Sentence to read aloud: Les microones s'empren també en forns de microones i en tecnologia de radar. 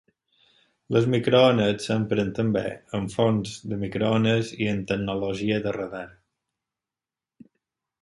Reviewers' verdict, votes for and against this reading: accepted, 4, 0